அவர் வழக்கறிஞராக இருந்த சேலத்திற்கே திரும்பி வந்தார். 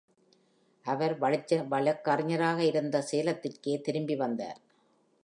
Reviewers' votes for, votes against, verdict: 1, 2, rejected